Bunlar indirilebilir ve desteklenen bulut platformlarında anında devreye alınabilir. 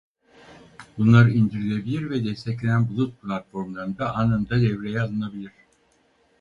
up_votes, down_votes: 2, 4